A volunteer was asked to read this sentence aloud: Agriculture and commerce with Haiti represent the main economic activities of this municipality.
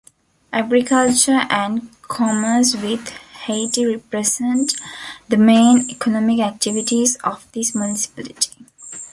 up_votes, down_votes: 1, 2